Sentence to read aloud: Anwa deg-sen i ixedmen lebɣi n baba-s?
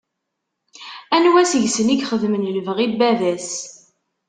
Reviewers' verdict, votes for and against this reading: rejected, 1, 2